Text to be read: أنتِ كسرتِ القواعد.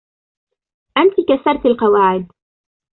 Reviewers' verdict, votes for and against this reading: accepted, 2, 0